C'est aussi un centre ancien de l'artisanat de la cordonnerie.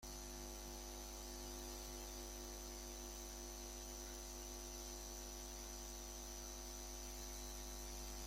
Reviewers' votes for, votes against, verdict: 0, 2, rejected